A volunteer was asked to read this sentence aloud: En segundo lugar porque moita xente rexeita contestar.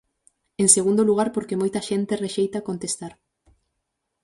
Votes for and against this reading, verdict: 4, 0, accepted